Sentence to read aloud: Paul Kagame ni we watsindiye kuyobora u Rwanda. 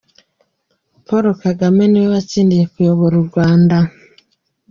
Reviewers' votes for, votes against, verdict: 2, 0, accepted